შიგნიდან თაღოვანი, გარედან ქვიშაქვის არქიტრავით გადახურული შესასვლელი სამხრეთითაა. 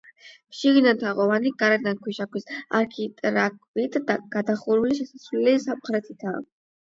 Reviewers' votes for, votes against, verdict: 8, 4, accepted